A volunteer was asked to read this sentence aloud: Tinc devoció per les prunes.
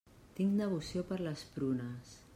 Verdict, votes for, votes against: accepted, 3, 0